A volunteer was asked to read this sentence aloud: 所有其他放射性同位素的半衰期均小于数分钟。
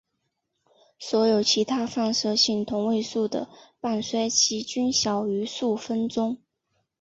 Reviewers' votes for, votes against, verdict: 5, 0, accepted